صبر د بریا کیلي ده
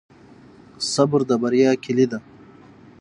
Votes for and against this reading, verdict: 0, 3, rejected